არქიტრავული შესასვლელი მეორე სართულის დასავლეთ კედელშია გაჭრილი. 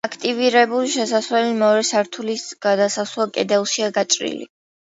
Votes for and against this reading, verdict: 0, 2, rejected